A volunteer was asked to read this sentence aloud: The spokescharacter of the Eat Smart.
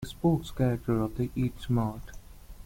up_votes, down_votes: 0, 2